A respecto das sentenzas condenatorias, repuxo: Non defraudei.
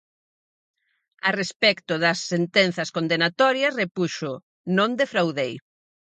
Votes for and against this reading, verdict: 4, 0, accepted